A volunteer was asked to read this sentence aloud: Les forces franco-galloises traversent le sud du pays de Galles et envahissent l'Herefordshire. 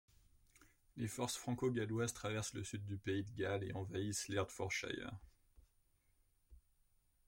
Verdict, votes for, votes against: rejected, 1, 2